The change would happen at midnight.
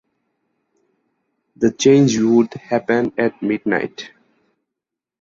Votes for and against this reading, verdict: 4, 0, accepted